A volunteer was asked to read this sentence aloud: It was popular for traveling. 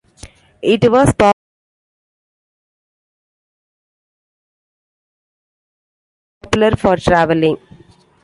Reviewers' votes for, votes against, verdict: 0, 2, rejected